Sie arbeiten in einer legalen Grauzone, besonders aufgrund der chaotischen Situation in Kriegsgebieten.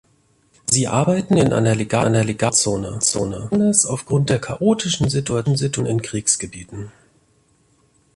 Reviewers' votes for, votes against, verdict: 0, 2, rejected